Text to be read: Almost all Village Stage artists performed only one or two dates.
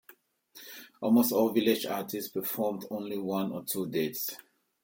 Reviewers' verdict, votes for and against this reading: rejected, 0, 2